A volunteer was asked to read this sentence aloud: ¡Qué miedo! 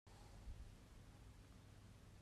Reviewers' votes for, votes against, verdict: 0, 2, rejected